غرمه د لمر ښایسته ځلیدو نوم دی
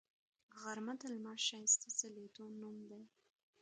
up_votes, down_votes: 2, 0